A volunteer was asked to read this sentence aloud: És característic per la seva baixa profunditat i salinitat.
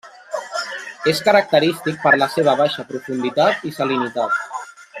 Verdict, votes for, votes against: rejected, 0, 2